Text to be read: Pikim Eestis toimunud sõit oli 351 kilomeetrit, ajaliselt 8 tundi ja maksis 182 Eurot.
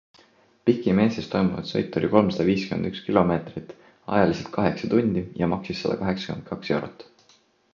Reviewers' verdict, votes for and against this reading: rejected, 0, 2